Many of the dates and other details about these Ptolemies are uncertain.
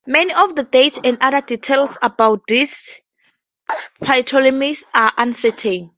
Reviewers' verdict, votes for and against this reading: rejected, 0, 2